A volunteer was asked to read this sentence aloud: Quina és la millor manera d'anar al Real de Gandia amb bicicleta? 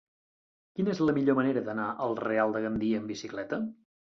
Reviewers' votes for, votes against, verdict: 1, 2, rejected